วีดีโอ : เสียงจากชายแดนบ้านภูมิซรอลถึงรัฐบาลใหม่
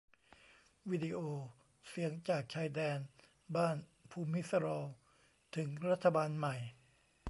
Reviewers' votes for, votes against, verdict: 1, 2, rejected